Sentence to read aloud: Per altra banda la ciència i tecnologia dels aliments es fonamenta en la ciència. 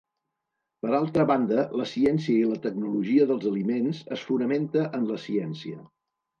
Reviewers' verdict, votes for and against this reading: rejected, 1, 2